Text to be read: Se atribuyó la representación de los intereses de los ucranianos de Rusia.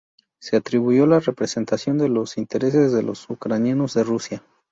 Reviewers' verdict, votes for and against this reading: rejected, 0, 2